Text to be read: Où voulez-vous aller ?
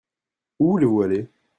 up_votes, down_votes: 1, 2